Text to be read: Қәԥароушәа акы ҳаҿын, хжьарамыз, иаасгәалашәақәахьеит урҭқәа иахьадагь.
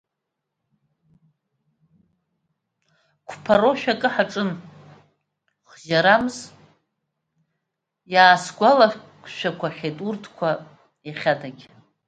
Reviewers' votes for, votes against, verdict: 0, 2, rejected